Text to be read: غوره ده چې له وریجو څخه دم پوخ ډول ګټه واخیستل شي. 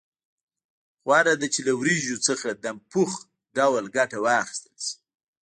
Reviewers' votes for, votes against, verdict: 1, 2, rejected